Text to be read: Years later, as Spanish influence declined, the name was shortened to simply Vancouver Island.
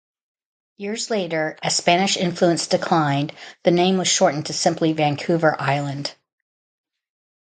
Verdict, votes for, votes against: rejected, 0, 2